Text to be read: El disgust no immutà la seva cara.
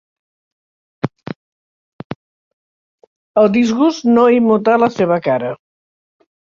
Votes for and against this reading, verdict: 3, 0, accepted